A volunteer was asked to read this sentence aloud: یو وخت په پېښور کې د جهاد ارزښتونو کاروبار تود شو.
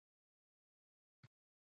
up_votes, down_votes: 1, 2